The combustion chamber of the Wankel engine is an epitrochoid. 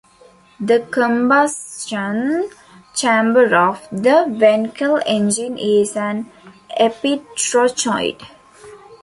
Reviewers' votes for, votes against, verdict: 1, 2, rejected